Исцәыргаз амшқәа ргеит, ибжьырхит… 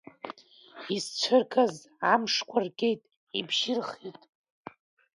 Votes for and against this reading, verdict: 2, 0, accepted